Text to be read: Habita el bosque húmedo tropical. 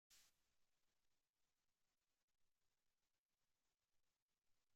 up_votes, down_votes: 0, 2